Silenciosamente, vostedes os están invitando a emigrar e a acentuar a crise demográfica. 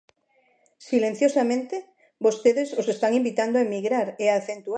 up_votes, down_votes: 0, 2